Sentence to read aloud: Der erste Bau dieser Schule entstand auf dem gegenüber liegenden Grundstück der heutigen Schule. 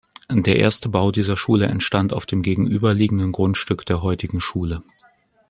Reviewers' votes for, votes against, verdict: 2, 0, accepted